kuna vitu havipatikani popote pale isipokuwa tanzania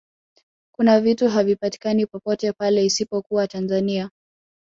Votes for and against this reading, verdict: 2, 0, accepted